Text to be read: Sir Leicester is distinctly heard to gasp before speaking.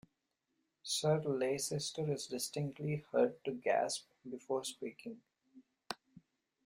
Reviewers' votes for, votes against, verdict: 0, 2, rejected